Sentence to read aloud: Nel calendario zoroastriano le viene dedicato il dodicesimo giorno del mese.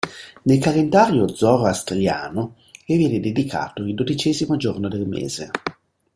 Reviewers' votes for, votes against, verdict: 2, 0, accepted